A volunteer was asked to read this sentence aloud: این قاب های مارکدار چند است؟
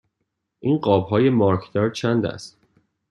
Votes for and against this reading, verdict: 2, 0, accepted